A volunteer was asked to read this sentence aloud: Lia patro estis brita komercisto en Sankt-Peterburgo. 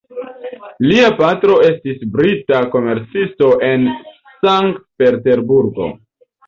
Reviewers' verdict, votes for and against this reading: accepted, 2, 0